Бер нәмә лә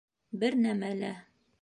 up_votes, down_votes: 2, 0